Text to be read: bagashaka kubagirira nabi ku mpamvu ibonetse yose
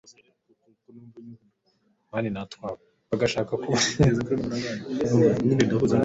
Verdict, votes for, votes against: rejected, 1, 2